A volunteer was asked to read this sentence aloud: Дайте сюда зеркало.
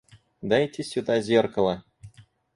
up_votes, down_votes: 4, 0